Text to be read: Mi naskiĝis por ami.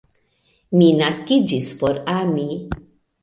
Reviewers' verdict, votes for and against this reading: accepted, 2, 1